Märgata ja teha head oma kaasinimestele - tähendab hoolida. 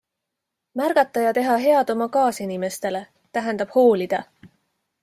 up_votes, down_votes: 2, 0